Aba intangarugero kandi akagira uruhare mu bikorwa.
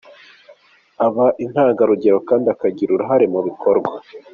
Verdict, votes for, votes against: accepted, 3, 0